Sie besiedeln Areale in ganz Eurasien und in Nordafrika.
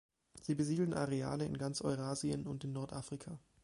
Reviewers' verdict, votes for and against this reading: accepted, 2, 0